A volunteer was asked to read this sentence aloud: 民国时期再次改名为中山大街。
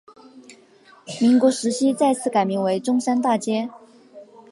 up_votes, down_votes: 2, 0